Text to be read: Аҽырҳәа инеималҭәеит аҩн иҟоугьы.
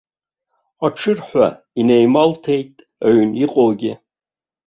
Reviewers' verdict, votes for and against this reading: rejected, 0, 2